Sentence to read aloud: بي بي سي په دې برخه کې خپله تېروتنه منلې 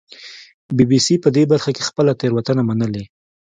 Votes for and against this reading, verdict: 2, 0, accepted